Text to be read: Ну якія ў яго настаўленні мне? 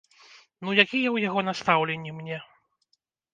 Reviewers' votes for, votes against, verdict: 1, 2, rejected